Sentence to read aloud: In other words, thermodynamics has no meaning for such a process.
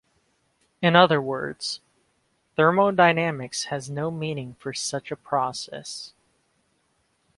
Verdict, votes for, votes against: accepted, 2, 0